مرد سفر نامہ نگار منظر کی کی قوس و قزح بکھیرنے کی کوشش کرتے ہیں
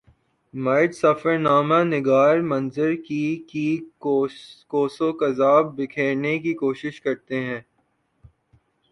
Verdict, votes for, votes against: accepted, 6, 2